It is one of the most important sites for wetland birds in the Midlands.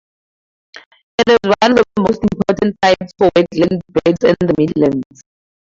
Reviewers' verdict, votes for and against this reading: rejected, 2, 4